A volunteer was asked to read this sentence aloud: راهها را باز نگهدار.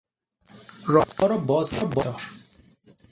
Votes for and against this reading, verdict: 0, 6, rejected